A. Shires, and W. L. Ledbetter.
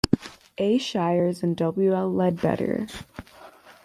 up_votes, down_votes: 2, 0